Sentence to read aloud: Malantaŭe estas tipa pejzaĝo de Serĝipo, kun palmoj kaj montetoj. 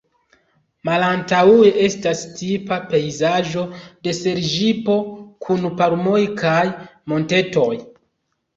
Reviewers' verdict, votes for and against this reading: rejected, 0, 2